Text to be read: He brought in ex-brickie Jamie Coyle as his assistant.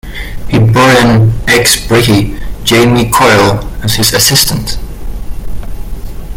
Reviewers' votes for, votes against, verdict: 2, 1, accepted